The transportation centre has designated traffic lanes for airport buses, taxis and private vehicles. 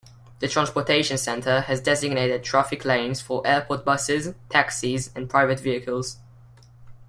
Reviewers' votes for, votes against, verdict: 2, 0, accepted